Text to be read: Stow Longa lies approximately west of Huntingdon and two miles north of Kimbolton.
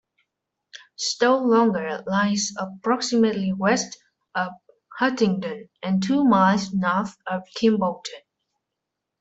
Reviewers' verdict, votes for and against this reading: accepted, 2, 0